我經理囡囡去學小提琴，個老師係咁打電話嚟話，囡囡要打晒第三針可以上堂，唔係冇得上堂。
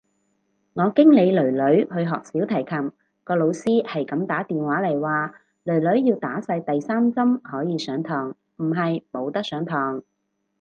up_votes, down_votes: 2, 2